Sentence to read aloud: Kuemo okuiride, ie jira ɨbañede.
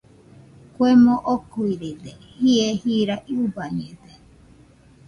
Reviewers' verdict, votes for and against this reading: rejected, 1, 2